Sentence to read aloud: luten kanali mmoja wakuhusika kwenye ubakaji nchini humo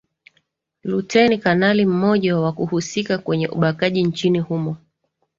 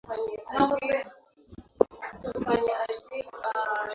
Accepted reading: first